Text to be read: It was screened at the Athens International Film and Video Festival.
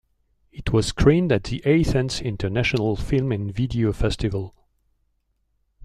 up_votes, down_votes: 2, 0